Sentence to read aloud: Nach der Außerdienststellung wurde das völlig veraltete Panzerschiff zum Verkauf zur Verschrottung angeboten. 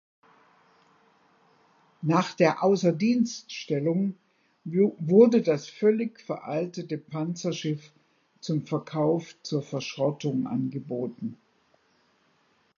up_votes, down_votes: 0, 2